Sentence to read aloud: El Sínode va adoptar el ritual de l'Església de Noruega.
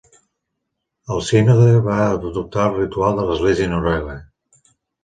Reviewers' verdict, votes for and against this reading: accepted, 2, 0